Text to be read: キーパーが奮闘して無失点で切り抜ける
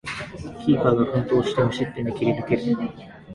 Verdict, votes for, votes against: rejected, 1, 2